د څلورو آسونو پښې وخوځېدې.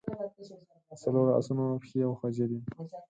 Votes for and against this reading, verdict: 2, 4, rejected